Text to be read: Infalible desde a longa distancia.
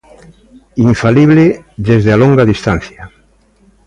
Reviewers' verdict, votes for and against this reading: accepted, 2, 0